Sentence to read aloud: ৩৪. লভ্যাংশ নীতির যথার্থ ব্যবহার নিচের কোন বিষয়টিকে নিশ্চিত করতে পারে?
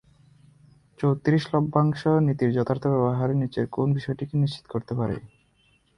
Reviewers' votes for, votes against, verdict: 0, 2, rejected